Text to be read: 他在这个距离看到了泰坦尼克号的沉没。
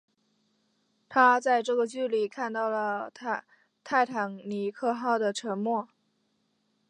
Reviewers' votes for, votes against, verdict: 2, 3, rejected